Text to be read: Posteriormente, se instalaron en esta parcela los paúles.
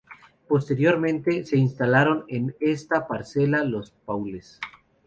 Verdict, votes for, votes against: accepted, 2, 0